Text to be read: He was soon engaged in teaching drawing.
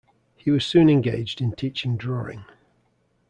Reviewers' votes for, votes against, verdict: 2, 0, accepted